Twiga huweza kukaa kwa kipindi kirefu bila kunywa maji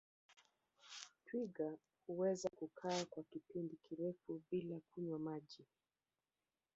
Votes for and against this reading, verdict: 0, 2, rejected